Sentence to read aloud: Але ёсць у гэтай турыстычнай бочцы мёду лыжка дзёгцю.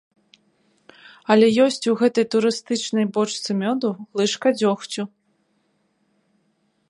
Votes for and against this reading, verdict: 2, 0, accepted